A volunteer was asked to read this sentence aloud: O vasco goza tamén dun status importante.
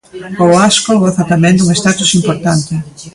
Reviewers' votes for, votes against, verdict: 1, 2, rejected